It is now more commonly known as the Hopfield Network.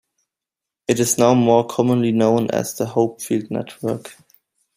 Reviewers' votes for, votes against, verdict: 1, 2, rejected